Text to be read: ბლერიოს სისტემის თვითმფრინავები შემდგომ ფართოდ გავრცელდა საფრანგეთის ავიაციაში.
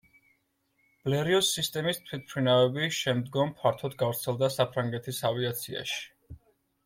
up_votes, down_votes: 2, 0